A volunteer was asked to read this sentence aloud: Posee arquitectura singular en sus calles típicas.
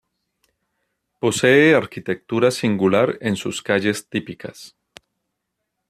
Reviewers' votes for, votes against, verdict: 2, 0, accepted